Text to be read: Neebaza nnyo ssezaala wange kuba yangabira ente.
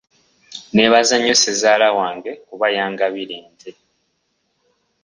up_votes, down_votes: 0, 2